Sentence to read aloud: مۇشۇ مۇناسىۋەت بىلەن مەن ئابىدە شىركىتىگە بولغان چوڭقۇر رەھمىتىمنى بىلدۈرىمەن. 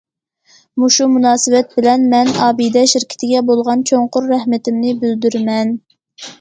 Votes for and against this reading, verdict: 2, 0, accepted